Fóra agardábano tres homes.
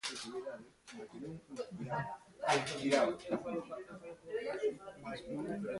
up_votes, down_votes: 0, 2